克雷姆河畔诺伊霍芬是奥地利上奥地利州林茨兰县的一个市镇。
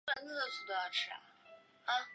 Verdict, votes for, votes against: accepted, 2, 0